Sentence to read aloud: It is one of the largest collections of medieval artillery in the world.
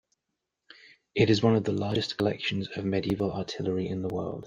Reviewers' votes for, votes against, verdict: 3, 0, accepted